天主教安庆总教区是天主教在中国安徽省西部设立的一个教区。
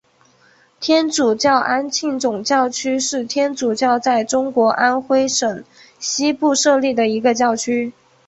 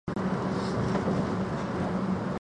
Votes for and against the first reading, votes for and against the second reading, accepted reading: 2, 1, 0, 2, first